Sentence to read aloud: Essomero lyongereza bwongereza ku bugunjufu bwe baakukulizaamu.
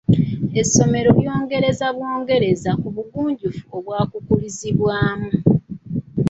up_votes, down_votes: 1, 2